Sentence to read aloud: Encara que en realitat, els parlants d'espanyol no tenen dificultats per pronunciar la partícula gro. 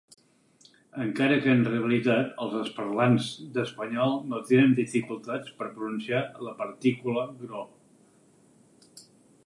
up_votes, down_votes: 4, 2